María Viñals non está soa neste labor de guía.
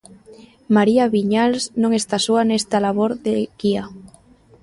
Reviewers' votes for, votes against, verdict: 0, 2, rejected